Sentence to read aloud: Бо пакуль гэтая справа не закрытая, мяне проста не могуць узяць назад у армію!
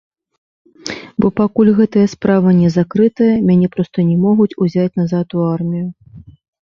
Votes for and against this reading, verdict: 2, 1, accepted